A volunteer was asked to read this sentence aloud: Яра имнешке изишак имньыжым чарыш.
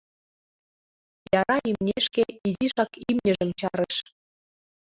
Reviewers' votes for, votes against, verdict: 2, 0, accepted